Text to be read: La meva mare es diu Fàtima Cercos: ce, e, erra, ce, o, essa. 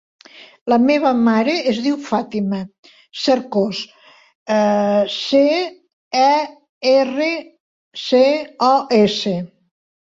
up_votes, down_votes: 0, 2